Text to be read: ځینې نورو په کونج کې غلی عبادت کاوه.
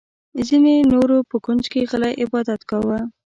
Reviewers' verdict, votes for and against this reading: rejected, 1, 2